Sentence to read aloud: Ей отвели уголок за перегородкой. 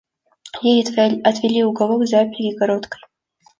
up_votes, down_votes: 2, 0